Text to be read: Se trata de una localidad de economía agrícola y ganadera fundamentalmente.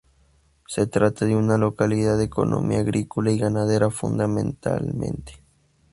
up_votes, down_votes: 0, 2